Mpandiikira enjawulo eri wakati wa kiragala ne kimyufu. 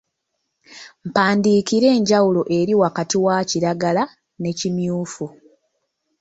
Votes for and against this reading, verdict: 2, 0, accepted